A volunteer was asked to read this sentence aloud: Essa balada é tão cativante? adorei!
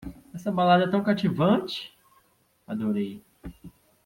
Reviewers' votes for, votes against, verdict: 2, 0, accepted